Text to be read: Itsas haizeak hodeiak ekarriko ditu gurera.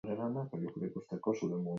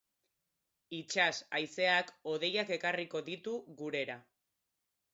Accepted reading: second